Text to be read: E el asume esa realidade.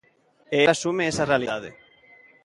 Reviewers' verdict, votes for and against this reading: accepted, 2, 1